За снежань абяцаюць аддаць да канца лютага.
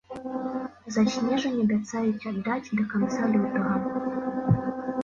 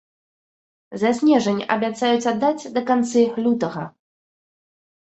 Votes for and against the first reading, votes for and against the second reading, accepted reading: 3, 0, 1, 2, first